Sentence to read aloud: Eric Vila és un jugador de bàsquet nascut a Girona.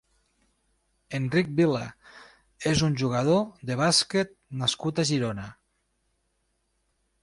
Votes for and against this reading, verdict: 1, 2, rejected